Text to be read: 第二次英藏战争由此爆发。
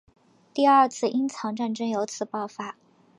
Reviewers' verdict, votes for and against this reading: accepted, 3, 0